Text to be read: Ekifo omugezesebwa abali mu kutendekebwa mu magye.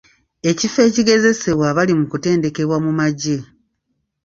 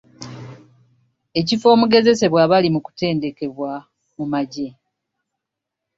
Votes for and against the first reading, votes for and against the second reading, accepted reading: 1, 3, 2, 0, second